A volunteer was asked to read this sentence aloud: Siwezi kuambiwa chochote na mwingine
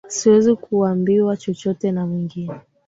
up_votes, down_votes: 0, 2